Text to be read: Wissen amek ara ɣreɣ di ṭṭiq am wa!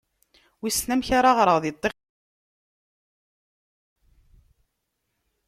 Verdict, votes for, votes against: rejected, 0, 2